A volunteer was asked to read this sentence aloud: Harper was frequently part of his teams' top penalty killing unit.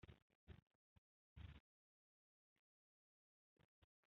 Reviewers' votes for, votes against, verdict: 0, 2, rejected